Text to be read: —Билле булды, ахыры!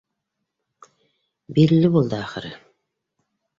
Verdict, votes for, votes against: accepted, 2, 0